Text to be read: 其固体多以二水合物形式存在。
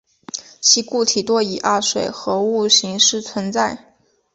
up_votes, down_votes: 5, 1